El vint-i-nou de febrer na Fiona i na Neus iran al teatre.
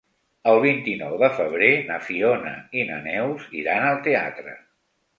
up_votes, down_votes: 3, 0